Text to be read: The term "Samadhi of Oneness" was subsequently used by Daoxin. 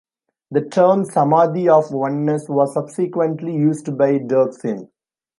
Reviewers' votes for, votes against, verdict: 2, 0, accepted